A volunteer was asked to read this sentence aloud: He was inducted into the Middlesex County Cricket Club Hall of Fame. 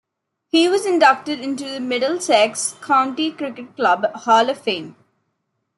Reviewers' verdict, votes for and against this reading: accepted, 2, 0